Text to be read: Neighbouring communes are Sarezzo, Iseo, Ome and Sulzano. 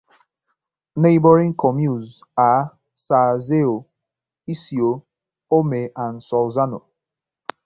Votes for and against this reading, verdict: 0, 2, rejected